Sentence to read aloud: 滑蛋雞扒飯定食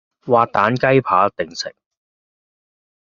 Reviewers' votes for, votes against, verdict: 1, 2, rejected